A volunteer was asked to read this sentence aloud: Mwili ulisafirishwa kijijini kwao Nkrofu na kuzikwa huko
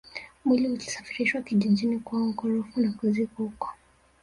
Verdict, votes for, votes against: rejected, 1, 2